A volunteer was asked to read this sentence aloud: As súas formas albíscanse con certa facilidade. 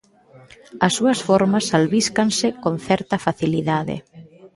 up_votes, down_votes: 2, 0